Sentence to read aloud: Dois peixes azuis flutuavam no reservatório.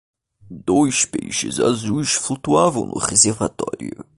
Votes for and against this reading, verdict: 1, 2, rejected